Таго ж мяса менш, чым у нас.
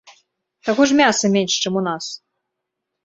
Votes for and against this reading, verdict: 2, 0, accepted